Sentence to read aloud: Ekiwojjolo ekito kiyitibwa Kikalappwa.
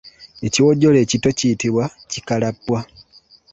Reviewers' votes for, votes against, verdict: 2, 0, accepted